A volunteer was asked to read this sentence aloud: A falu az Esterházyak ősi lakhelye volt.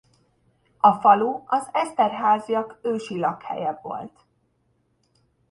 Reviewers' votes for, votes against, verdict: 2, 0, accepted